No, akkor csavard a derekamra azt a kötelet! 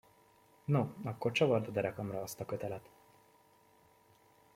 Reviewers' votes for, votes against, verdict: 2, 0, accepted